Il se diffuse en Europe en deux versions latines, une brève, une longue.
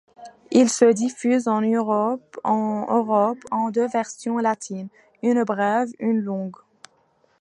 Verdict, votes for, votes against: rejected, 1, 2